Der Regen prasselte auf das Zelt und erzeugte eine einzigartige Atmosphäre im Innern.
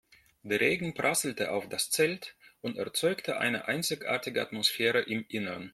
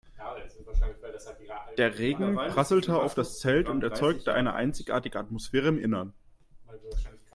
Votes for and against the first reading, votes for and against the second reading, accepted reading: 2, 0, 0, 2, first